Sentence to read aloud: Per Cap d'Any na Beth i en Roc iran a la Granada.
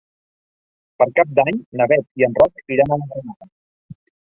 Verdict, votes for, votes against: rejected, 0, 2